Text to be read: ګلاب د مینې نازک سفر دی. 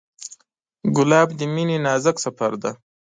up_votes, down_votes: 3, 0